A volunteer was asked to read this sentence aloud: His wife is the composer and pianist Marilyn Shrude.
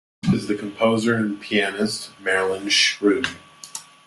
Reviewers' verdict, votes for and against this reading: rejected, 1, 2